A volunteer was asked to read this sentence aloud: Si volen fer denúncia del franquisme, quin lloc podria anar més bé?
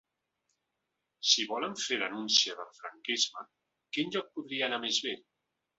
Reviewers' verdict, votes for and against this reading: accepted, 2, 0